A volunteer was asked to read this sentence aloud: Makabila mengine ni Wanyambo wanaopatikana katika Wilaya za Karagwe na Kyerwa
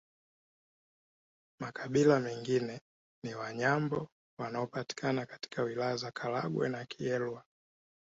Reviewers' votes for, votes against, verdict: 1, 2, rejected